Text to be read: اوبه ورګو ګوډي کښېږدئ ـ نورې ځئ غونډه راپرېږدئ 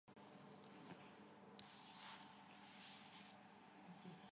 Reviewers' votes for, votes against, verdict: 0, 2, rejected